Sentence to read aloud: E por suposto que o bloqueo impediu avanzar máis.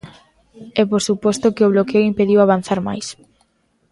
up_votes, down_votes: 2, 0